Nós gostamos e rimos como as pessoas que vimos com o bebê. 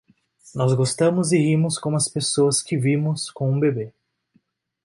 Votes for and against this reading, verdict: 1, 2, rejected